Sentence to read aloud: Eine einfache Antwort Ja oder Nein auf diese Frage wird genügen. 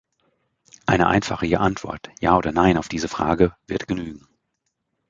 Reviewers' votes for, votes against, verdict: 1, 3, rejected